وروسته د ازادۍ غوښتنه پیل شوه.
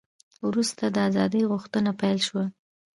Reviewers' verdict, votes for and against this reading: accepted, 2, 0